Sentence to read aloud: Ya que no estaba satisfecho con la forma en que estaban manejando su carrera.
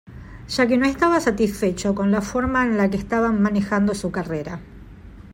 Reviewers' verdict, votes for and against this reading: rejected, 0, 2